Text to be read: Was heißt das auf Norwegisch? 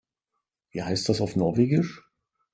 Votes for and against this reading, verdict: 0, 3, rejected